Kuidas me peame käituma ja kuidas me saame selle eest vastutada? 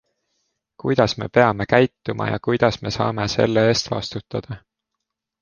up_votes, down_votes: 2, 0